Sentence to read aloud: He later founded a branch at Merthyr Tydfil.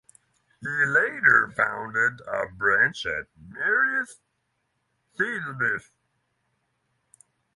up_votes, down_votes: 3, 3